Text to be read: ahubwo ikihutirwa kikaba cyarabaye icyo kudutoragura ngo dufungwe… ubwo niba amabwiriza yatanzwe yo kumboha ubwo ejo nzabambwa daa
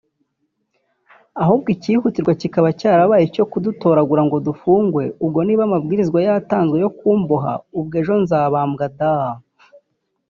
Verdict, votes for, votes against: rejected, 1, 2